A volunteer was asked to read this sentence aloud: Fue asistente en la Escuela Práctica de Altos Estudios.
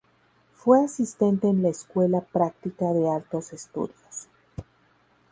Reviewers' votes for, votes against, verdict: 4, 0, accepted